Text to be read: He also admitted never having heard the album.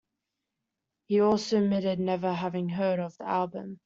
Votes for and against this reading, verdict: 0, 2, rejected